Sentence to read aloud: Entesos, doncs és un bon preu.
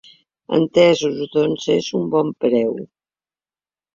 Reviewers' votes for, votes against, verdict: 3, 0, accepted